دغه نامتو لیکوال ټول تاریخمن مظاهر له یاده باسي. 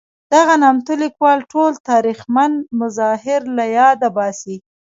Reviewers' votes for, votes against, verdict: 1, 2, rejected